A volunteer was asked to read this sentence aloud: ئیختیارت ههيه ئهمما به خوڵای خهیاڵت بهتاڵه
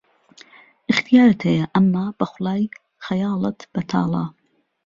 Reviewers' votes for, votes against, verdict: 2, 0, accepted